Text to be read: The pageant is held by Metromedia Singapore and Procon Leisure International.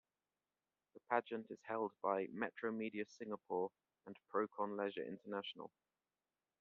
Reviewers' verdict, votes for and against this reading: accepted, 2, 1